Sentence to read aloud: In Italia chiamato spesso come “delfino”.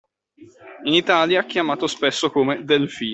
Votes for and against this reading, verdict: 2, 1, accepted